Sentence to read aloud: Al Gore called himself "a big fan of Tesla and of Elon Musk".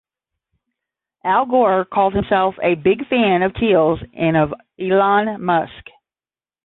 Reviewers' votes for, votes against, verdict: 0, 10, rejected